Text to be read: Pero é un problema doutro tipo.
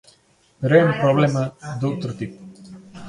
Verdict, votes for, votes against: rejected, 0, 3